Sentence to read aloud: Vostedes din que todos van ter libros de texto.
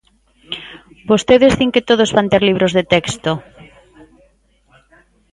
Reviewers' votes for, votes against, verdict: 1, 2, rejected